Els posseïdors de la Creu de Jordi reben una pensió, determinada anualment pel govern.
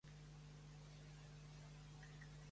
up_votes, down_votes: 0, 2